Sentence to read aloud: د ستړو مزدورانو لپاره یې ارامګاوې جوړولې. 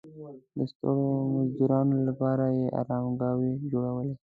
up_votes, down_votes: 2, 0